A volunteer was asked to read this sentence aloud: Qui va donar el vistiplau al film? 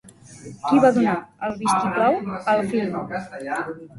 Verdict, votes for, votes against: rejected, 1, 2